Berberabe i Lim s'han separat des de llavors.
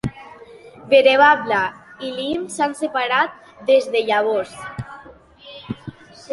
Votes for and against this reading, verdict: 0, 2, rejected